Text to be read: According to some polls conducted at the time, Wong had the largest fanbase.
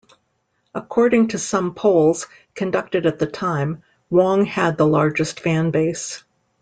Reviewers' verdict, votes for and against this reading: accepted, 2, 0